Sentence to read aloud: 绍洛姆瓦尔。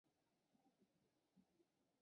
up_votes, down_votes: 0, 3